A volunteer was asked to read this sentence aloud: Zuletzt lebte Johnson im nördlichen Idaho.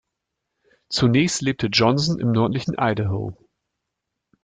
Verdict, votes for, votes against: rejected, 0, 2